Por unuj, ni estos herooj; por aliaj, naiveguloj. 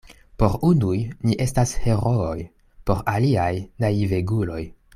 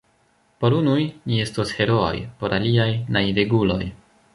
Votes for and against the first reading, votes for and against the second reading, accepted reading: 2, 1, 1, 2, first